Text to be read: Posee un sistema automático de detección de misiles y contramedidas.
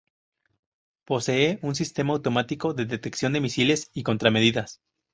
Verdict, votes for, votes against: rejected, 0, 2